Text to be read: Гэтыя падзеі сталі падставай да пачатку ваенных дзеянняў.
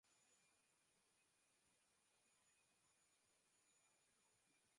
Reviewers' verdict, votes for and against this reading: rejected, 0, 2